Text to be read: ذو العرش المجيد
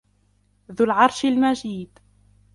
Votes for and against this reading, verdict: 0, 2, rejected